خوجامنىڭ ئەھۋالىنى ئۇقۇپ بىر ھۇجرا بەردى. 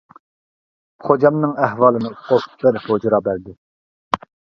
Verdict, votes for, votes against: rejected, 1, 2